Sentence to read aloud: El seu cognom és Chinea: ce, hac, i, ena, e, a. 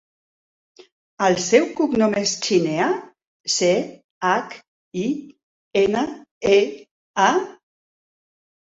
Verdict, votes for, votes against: accepted, 4, 1